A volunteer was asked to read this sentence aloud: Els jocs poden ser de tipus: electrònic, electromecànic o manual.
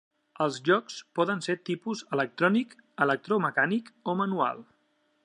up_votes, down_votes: 1, 2